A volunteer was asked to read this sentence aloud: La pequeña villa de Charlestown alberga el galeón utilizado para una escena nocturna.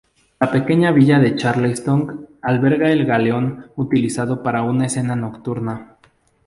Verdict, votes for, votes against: accepted, 2, 0